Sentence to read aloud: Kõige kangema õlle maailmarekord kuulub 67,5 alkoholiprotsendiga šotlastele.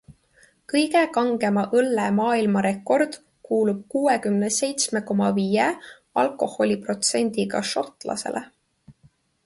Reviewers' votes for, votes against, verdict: 0, 2, rejected